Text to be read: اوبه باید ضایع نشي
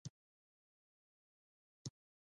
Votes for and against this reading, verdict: 0, 2, rejected